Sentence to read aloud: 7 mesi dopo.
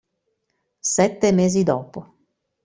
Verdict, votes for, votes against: rejected, 0, 2